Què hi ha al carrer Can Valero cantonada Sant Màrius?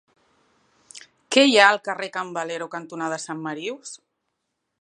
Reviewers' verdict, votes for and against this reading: rejected, 1, 2